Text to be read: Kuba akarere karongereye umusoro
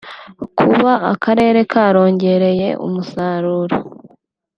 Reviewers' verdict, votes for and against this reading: rejected, 2, 3